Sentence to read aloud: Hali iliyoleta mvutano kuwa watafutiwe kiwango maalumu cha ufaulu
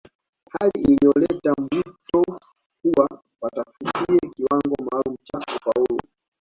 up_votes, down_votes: 0, 2